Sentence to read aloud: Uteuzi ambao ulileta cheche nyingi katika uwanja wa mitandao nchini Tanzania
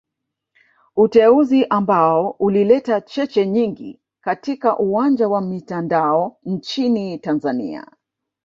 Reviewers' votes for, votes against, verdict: 1, 2, rejected